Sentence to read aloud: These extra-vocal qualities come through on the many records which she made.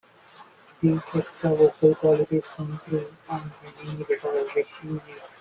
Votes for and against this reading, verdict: 1, 2, rejected